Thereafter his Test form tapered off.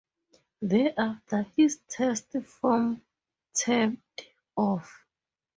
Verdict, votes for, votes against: rejected, 0, 2